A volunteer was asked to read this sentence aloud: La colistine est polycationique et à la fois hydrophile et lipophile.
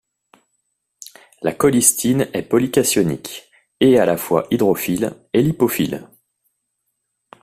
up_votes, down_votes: 2, 0